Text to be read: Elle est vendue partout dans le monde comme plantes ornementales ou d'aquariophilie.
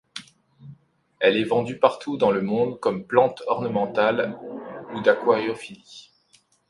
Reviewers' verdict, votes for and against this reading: accepted, 2, 0